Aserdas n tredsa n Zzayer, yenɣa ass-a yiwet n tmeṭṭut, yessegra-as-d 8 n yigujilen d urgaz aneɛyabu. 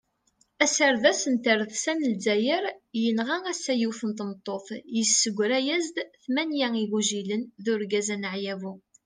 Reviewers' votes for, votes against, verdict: 0, 2, rejected